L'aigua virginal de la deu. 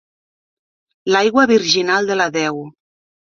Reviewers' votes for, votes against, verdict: 3, 0, accepted